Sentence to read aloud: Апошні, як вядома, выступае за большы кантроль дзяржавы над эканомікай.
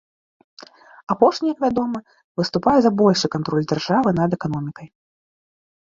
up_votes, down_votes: 3, 0